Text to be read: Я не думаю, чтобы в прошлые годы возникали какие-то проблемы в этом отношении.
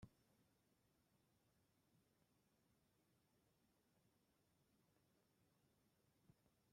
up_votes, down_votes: 0, 2